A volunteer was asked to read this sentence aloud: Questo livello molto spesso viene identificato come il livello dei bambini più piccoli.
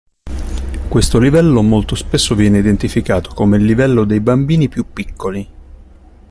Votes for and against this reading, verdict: 2, 0, accepted